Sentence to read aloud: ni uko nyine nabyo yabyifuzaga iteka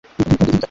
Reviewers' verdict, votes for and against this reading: rejected, 1, 2